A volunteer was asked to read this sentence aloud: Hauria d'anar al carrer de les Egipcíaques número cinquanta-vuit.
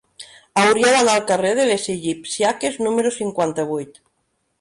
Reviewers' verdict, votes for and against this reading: accepted, 2, 0